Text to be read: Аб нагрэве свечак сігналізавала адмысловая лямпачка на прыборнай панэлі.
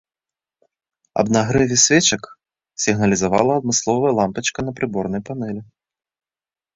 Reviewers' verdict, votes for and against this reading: accepted, 2, 0